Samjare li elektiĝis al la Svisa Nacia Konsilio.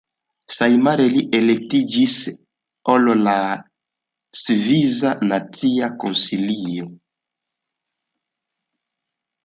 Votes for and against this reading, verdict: 1, 2, rejected